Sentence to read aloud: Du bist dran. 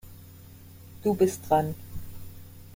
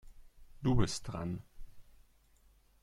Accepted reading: second